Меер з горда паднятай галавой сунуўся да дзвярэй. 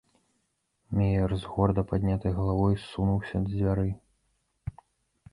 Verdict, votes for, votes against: rejected, 0, 2